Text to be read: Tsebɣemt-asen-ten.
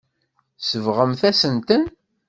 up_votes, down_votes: 2, 0